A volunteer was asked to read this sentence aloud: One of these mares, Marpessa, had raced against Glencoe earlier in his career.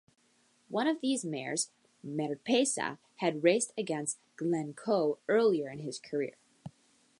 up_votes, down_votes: 2, 0